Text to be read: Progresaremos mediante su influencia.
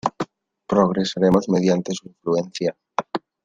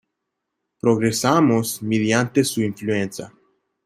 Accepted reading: first